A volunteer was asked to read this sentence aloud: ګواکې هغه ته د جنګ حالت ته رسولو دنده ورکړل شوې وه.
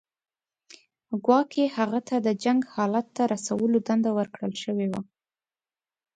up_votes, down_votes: 2, 0